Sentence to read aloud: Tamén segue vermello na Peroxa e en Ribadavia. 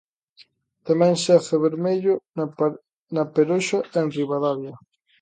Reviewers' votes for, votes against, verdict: 0, 2, rejected